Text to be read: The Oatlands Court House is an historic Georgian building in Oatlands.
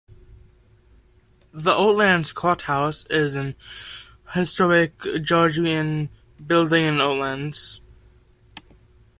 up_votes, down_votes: 0, 2